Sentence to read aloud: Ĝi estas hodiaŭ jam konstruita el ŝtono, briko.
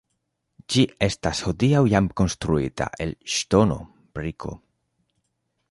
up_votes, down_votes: 2, 0